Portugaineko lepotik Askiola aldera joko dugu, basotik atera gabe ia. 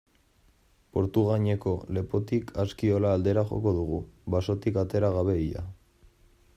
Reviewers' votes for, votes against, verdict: 2, 1, accepted